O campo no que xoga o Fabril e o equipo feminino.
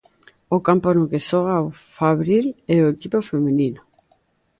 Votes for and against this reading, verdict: 1, 2, rejected